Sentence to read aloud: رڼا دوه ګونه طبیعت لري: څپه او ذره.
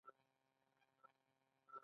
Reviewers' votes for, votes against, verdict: 2, 0, accepted